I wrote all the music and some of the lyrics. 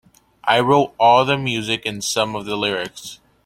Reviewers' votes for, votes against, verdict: 2, 0, accepted